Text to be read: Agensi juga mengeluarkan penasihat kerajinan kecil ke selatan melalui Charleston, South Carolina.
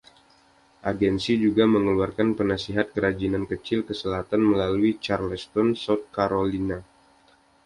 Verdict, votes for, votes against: accepted, 2, 0